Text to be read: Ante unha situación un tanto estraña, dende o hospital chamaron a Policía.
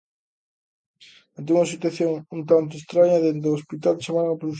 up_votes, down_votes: 0, 2